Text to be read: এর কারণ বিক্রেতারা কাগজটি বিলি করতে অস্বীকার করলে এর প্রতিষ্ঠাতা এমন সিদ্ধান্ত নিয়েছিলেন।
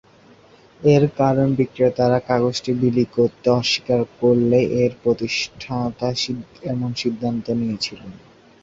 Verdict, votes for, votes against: rejected, 2, 3